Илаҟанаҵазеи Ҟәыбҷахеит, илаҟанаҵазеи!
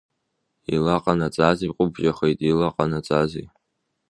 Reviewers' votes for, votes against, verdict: 0, 2, rejected